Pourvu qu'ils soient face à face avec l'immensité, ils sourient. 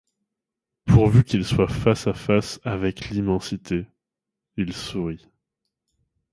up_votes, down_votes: 2, 0